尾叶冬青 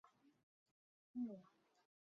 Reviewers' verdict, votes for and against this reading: rejected, 0, 2